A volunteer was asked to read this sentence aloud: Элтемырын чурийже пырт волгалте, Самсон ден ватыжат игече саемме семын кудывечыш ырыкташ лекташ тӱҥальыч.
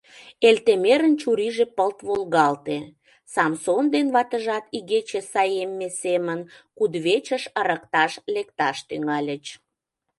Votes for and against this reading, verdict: 0, 2, rejected